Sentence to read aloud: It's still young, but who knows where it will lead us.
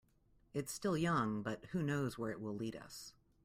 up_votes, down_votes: 2, 0